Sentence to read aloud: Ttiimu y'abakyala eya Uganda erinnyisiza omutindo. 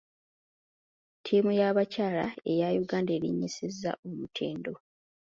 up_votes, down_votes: 2, 0